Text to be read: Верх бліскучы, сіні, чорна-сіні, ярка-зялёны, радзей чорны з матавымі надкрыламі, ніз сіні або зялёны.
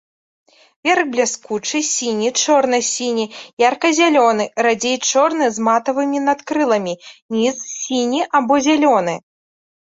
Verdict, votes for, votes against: accepted, 2, 0